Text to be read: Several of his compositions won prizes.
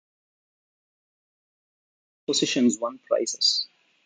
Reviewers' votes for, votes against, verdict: 0, 2, rejected